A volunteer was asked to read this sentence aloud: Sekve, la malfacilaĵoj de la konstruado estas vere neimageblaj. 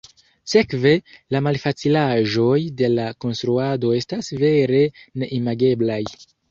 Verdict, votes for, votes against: rejected, 1, 2